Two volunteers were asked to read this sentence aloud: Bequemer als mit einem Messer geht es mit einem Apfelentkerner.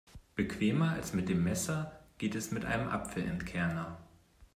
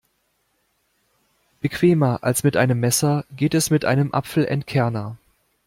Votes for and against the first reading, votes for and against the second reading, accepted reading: 0, 2, 2, 0, second